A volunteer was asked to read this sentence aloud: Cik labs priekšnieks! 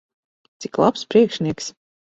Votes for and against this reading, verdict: 4, 0, accepted